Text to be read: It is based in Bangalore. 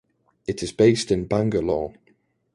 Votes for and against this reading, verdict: 2, 0, accepted